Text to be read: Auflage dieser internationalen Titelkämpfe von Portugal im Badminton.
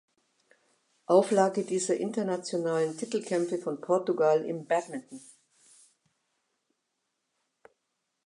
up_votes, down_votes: 2, 0